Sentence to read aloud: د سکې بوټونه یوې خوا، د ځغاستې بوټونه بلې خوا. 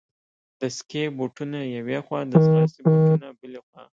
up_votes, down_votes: 1, 2